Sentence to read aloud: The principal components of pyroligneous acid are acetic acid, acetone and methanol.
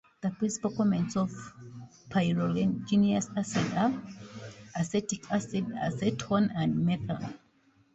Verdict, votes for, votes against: rejected, 0, 2